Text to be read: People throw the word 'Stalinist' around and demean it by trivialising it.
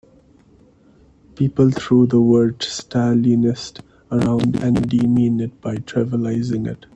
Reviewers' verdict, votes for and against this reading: rejected, 1, 2